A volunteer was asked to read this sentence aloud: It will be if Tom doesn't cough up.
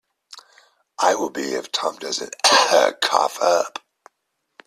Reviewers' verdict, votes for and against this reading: rejected, 0, 2